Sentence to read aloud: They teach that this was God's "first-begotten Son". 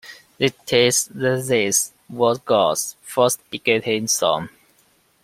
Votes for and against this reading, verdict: 1, 2, rejected